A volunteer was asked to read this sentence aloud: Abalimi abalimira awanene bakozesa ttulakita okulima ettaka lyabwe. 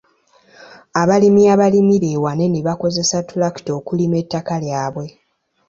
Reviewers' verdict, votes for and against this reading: rejected, 1, 2